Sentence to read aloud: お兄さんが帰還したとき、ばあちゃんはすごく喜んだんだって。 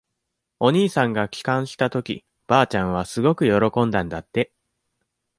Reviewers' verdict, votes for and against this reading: accepted, 2, 0